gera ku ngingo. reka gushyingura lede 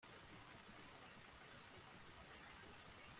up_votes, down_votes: 0, 3